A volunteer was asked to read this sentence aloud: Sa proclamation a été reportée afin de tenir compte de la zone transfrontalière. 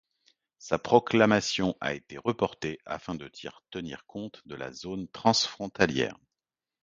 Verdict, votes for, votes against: rejected, 0, 2